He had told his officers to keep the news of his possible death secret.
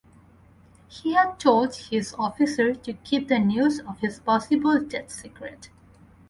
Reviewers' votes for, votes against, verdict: 4, 0, accepted